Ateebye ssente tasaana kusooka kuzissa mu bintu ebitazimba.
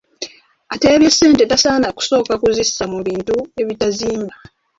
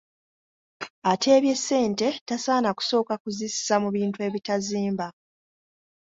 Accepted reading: second